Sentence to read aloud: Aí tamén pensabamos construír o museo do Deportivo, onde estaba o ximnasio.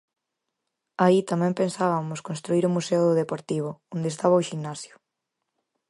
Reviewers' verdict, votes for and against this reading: rejected, 0, 4